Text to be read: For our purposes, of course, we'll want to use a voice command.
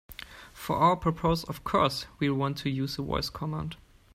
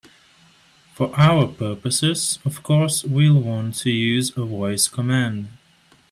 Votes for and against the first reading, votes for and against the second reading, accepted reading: 1, 2, 2, 1, second